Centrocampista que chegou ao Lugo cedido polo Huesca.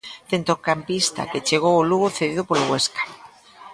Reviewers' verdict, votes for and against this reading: rejected, 1, 2